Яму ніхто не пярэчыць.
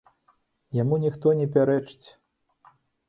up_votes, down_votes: 3, 0